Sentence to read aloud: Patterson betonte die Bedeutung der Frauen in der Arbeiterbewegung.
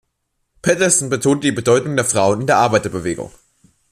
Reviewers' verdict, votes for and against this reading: rejected, 1, 2